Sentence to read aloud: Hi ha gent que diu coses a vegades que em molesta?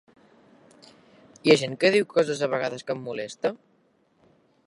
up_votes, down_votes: 4, 1